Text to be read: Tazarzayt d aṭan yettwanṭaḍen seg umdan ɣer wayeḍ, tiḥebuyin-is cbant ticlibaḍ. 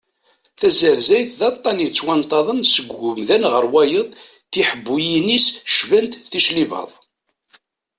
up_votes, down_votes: 2, 0